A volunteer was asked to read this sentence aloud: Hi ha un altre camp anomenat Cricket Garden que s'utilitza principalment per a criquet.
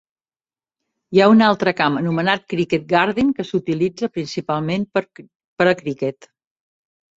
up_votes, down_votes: 1, 2